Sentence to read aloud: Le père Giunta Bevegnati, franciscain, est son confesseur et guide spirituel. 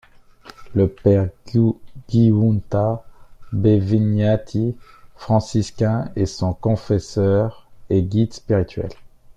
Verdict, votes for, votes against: rejected, 1, 2